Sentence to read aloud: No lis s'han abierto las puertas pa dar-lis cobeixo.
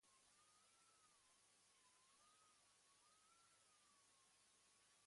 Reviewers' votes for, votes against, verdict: 1, 2, rejected